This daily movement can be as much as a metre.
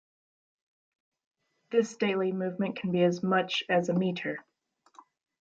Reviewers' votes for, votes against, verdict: 2, 1, accepted